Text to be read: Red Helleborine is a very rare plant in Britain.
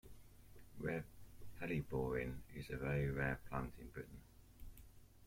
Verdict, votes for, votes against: accepted, 2, 0